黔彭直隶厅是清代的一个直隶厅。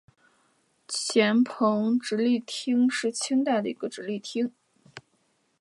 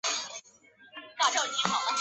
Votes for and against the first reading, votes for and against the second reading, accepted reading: 2, 0, 1, 2, first